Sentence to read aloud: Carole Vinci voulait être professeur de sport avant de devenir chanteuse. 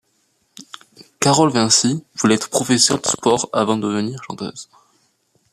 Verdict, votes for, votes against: rejected, 0, 2